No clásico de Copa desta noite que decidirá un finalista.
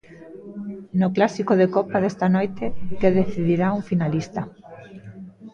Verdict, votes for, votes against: rejected, 0, 2